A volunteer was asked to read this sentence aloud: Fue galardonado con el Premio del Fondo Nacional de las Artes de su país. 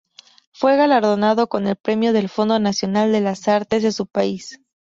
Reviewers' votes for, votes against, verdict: 6, 0, accepted